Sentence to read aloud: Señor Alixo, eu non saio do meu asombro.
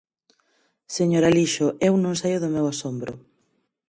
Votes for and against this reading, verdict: 4, 0, accepted